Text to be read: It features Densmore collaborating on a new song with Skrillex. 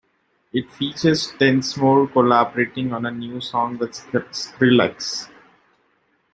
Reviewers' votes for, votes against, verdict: 0, 2, rejected